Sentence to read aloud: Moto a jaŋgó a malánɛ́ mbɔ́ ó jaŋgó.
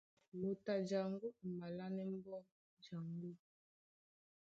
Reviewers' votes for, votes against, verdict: 2, 0, accepted